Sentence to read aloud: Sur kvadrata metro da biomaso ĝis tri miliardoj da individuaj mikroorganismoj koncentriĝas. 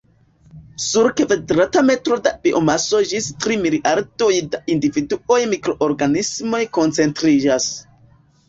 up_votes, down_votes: 0, 2